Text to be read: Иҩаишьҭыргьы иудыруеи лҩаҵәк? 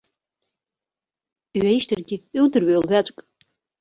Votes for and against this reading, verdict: 2, 0, accepted